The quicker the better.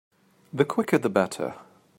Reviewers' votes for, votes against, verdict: 2, 0, accepted